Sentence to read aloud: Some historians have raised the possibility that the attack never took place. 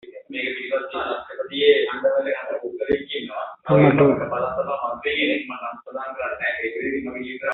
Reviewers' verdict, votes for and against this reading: rejected, 0, 3